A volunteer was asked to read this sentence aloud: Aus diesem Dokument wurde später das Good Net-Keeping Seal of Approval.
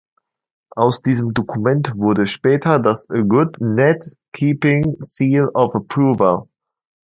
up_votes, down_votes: 2, 0